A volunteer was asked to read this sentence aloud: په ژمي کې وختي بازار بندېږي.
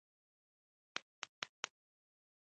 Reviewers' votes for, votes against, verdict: 0, 2, rejected